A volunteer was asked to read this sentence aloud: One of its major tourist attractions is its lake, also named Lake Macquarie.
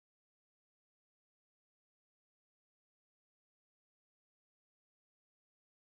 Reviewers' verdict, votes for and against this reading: rejected, 0, 2